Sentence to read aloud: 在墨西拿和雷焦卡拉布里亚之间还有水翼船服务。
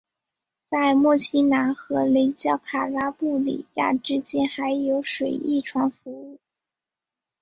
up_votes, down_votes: 4, 0